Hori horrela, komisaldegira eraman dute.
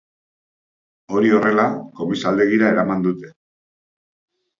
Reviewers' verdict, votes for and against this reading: accepted, 2, 0